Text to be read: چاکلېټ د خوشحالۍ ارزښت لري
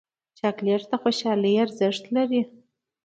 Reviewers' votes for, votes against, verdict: 2, 0, accepted